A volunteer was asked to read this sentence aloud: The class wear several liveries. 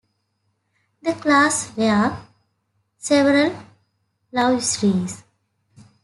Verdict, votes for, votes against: rejected, 1, 2